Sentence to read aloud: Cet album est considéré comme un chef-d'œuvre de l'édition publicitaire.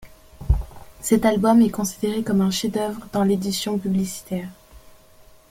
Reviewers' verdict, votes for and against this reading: rejected, 0, 2